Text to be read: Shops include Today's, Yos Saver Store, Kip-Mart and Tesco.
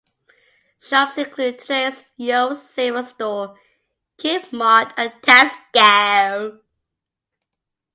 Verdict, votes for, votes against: accepted, 2, 1